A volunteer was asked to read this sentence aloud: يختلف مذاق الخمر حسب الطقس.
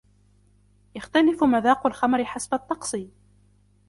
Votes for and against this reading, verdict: 2, 0, accepted